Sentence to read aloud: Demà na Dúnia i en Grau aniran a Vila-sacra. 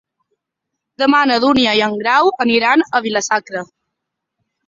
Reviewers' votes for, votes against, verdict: 2, 0, accepted